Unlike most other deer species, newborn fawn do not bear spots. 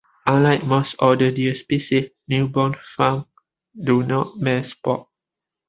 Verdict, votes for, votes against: rejected, 0, 2